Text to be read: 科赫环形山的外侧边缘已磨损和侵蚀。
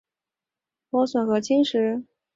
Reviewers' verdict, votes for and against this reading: rejected, 0, 2